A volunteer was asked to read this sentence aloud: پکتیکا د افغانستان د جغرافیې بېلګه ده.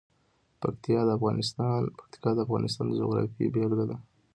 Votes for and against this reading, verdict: 2, 0, accepted